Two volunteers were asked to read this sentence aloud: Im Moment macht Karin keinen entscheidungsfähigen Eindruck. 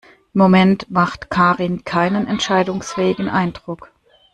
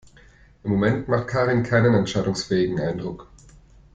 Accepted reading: second